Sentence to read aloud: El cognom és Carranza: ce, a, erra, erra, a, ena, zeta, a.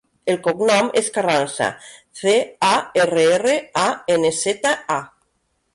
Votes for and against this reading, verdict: 3, 2, accepted